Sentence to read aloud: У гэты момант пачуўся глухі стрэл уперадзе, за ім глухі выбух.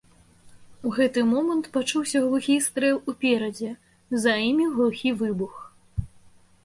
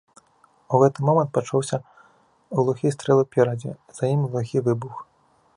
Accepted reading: second